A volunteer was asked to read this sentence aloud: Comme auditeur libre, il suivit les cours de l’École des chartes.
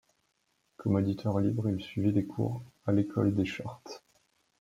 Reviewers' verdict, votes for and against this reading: rejected, 1, 2